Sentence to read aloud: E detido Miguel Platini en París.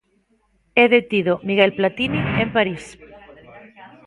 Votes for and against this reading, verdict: 0, 2, rejected